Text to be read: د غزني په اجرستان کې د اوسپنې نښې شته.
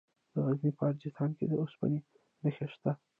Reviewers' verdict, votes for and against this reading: rejected, 0, 2